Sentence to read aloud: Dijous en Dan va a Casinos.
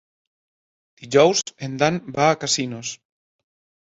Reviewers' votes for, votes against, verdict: 2, 0, accepted